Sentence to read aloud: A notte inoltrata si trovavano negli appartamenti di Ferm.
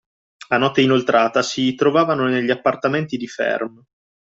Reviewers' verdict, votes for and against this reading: accepted, 2, 0